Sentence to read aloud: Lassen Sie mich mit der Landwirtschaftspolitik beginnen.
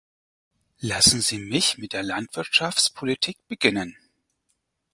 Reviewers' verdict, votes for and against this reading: accepted, 6, 0